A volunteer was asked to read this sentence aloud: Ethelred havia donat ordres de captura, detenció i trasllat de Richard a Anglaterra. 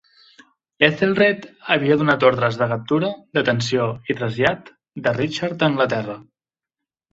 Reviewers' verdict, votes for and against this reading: accepted, 2, 0